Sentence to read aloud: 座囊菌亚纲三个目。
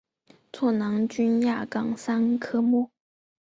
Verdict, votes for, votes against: rejected, 1, 2